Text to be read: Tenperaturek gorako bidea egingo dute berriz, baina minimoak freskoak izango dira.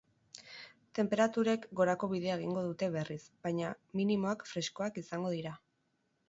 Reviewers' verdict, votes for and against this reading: accepted, 2, 0